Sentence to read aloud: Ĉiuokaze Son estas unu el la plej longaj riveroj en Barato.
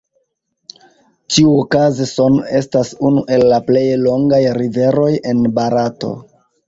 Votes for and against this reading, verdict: 2, 1, accepted